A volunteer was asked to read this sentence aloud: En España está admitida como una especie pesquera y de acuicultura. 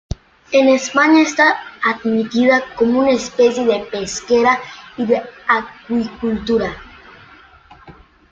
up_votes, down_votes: 0, 2